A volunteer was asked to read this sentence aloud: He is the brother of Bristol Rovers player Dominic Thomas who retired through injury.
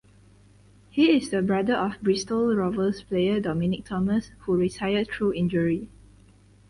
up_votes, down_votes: 4, 0